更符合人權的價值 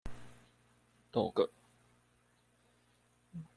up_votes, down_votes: 0, 2